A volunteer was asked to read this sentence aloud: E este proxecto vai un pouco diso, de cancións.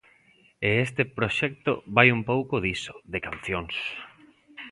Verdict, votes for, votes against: accepted, 2, 0